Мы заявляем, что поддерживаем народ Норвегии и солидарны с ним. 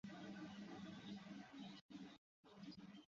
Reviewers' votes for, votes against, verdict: 1, 2, rejected